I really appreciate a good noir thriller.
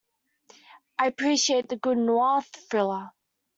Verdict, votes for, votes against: rejected, 0, 2